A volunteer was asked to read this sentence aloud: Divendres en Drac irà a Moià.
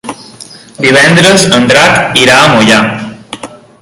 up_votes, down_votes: 2, 0